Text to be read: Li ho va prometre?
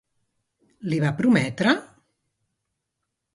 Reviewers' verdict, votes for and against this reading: rejected, 1, 2